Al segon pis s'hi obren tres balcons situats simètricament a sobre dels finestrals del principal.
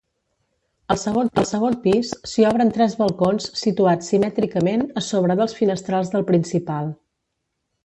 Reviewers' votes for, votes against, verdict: 0, 2, rejected